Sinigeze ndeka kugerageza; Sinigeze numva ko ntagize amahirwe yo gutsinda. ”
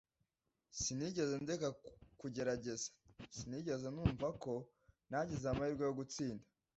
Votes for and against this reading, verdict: 1, 2, rejected